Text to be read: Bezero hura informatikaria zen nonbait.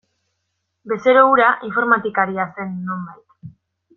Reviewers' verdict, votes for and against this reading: accepted, 2, 1